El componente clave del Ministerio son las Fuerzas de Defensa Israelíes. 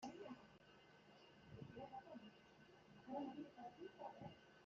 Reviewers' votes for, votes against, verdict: 1, 2, rejected